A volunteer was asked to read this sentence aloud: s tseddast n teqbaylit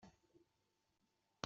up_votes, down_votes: 0, 2